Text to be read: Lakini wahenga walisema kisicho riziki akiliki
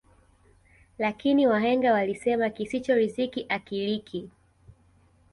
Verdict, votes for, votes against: accepted, 2, 0